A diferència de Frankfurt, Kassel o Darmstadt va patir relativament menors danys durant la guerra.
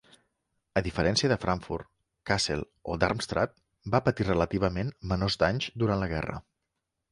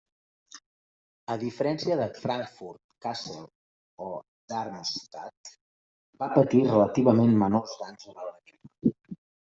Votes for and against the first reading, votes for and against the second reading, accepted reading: 2, 0, 1, 2, first